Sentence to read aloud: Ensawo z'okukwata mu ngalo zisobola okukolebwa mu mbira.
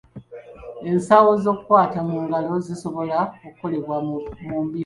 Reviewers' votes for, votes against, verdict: 0, 2, rejected